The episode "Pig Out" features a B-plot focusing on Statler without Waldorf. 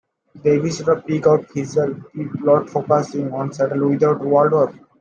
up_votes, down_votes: 0, 2